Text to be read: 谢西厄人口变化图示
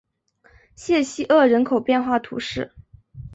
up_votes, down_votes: 4, 1